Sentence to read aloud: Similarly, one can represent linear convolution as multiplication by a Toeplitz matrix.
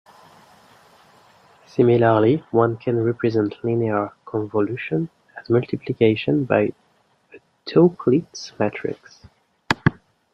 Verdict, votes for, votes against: rejected, 1, 2